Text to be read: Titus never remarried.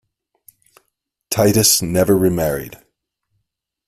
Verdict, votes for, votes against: accepted, 2, 0